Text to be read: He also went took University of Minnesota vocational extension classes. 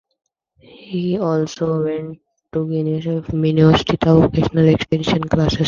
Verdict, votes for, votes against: rejected, 0, 2